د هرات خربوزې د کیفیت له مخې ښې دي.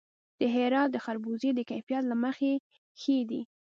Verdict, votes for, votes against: accepted, 2, 0